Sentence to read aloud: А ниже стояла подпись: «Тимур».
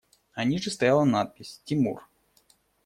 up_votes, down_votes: 0, 2